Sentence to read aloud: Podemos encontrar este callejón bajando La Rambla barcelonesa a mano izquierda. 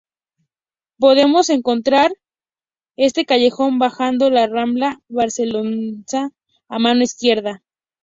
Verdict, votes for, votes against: accepted, 2, 0